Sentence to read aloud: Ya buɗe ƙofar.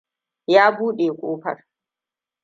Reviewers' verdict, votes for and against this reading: accepted, 2, 0